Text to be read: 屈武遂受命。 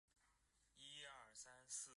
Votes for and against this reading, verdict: 0, 2, rejected